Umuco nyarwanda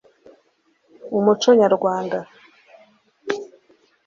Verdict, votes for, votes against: accepted, 2, 0